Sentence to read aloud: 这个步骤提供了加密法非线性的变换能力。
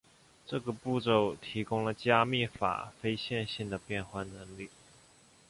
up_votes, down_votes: 2, 1